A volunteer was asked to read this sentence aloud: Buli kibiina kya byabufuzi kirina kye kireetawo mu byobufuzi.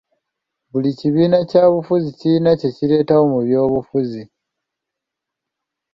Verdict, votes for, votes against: rejected, 1, 2